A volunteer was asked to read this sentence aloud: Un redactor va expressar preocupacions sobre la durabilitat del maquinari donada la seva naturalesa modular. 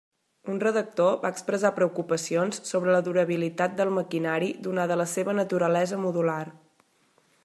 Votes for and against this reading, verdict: 1, 2, rejected